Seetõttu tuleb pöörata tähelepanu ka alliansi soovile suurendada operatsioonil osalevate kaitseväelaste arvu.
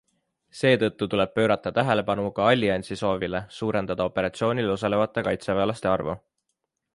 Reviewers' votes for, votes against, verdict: 2, 0, accepted